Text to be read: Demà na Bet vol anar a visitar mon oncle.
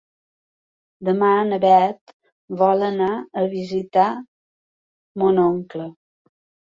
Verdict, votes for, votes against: accepted, 2, 0